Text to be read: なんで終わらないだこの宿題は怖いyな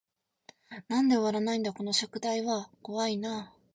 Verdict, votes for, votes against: rejected, 0, 2